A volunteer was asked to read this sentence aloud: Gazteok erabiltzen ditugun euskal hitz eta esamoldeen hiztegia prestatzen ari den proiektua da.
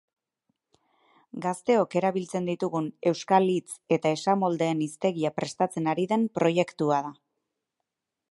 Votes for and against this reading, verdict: 4, 0, accepted